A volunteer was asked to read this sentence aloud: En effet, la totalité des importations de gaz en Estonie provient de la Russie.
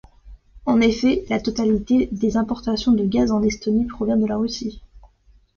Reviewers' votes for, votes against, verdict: 2, 0, accepted